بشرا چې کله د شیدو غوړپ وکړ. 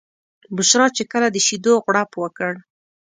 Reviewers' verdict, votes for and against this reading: accepted, 2, 0